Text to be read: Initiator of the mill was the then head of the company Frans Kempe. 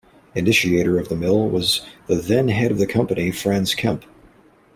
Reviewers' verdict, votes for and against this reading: accepted, 2, 0